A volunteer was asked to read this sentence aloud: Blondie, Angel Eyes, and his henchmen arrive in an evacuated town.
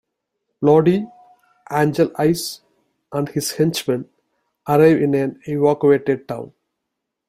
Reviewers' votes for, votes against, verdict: 1, 2, rejected